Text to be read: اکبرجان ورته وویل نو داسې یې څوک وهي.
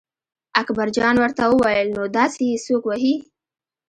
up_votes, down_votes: 3, 0